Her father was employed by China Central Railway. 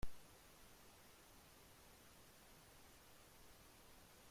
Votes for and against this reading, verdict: 0, 2, rejected